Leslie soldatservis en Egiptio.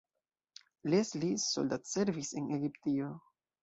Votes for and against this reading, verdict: 2, 1, accepted